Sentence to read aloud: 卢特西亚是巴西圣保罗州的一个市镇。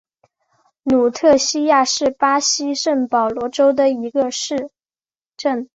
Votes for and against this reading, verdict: 3, 1, accepted